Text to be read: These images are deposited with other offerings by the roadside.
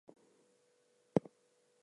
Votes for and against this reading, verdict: 2, 0, accepted